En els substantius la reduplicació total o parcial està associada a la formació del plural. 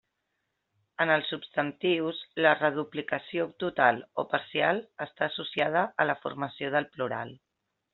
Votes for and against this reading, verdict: 3, 0, accepted